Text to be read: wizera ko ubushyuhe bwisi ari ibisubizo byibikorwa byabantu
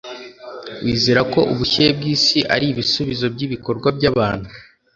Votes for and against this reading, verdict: 1, 2, rejected